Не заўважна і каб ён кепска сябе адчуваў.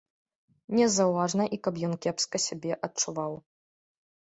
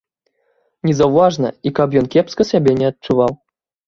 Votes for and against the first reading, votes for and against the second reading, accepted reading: 2, 0, 0, 2, first